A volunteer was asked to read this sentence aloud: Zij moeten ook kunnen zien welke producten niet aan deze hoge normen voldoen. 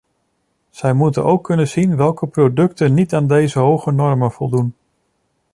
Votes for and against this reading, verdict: 2, 0, accepted